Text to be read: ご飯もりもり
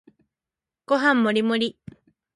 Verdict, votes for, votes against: accepted, 2, 1